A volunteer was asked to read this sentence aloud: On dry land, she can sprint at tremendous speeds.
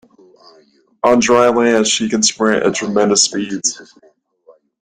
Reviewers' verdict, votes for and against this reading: rejected, 1, 2